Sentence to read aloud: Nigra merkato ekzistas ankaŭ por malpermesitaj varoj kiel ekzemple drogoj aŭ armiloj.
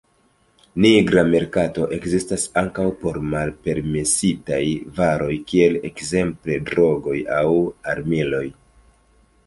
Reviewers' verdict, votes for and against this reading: rejected, 0, 2